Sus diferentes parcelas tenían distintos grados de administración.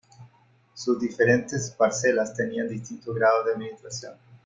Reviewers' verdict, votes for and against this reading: accepted, 2, 0